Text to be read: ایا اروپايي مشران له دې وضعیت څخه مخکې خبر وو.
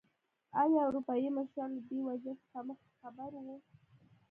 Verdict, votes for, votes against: rejected, 0, 2